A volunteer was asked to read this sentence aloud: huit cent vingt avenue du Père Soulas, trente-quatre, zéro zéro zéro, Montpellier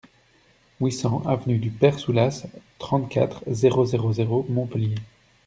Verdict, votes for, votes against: rejected, 1, 2